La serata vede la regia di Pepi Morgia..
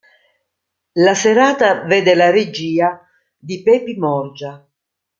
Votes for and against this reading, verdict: 2, 1, accepted